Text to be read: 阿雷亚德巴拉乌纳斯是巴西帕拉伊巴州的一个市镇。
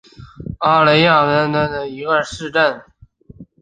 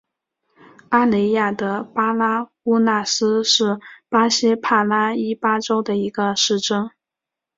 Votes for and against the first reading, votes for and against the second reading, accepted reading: 1, 4, 5, 0, second